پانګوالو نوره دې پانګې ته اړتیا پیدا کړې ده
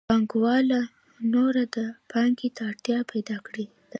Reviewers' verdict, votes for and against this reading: accepted, 2, 0